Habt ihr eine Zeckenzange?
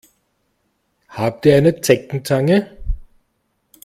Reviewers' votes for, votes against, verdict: 2, 0, accepted